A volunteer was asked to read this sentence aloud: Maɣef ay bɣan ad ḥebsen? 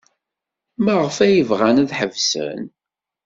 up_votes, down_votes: 2, 0